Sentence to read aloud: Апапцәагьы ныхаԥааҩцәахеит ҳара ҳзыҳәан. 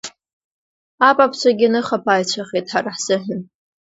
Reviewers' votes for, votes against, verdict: 1, 2, rejected